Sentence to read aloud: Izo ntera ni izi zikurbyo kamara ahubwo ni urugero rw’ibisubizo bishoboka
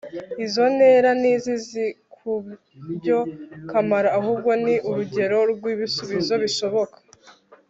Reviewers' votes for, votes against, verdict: 1, 2, rejected